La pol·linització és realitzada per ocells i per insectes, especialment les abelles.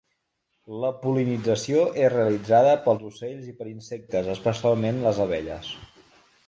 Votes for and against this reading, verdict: 0, 2, rejected